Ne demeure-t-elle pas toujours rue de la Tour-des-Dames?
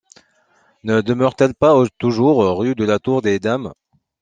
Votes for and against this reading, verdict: 1, 2, rejected